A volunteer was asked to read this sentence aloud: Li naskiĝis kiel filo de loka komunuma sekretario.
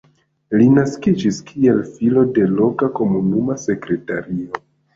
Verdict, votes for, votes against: rejected, 0, 2